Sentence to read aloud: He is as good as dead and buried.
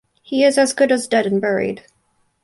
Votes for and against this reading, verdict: 4, 0, accepted